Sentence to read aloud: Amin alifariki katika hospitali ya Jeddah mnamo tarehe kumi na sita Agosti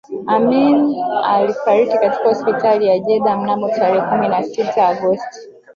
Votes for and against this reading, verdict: 1, 2, rejected